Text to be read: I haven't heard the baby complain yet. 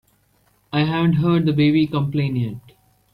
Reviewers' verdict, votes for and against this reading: accepted, 3, 0